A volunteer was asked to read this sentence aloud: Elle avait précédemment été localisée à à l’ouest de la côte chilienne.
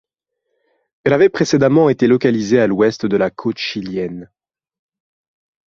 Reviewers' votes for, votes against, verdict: 1, 2, rejected